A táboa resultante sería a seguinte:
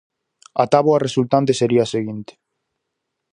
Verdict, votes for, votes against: accepted, 4, 0